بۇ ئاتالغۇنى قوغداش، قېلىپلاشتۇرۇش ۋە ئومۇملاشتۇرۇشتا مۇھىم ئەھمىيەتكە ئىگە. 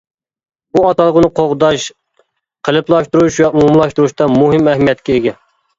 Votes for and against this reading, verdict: 2, 0, accepted